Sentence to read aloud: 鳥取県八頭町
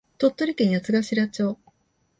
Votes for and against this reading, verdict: 2, 0, accepted